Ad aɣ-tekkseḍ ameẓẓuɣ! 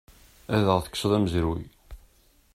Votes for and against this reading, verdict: 0, 2, rejected